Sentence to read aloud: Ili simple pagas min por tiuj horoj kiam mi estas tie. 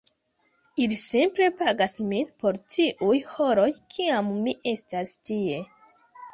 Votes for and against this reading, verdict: 2, 1, accepted